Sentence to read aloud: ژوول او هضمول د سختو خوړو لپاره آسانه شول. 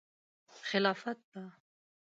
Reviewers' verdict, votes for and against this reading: rejected, 1, 2